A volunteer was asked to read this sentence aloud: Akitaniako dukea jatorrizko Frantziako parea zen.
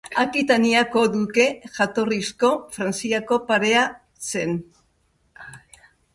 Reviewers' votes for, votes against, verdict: 1, 2, rejected